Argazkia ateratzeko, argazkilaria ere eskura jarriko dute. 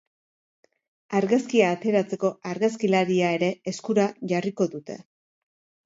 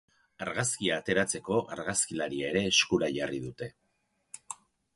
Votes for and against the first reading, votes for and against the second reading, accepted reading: 2, 0, 2, 4, first